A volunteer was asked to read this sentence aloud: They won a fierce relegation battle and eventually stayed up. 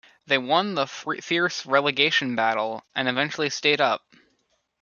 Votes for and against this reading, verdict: 0, 2, rejected